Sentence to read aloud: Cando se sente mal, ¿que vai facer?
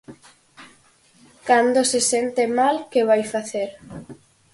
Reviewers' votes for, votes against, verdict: 4, 0, accepted